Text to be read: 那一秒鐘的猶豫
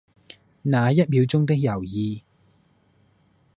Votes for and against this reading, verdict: 1, 2, rejected